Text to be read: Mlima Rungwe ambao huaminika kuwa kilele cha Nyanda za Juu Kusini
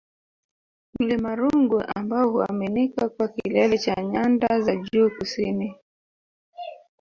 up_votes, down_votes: 1, 2